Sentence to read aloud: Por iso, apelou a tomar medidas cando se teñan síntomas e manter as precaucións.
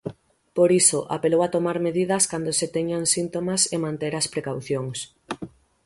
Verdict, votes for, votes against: accepted, 6, 0